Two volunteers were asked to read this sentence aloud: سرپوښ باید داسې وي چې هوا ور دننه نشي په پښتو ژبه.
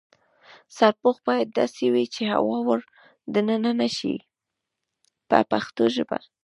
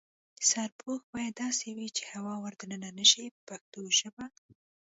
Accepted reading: first